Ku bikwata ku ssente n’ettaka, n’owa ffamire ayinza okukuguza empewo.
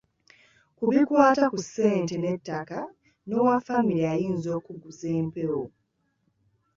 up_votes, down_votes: 2, 0